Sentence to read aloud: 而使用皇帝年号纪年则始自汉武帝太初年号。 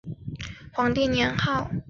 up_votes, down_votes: 1, 3